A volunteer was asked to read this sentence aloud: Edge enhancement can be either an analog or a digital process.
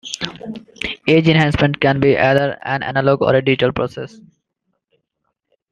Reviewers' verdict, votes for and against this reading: accepted, 2, 0